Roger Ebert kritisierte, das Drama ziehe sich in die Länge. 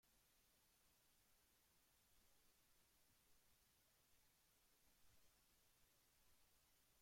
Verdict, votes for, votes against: rejected, 0, 2